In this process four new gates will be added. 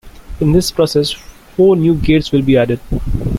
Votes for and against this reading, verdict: 2, 1, accepted